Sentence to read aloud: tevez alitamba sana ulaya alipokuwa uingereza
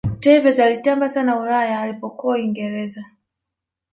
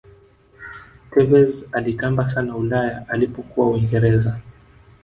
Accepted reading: first